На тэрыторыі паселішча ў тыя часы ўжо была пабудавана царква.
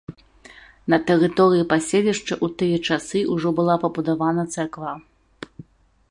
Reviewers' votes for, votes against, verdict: 0, 2, rejected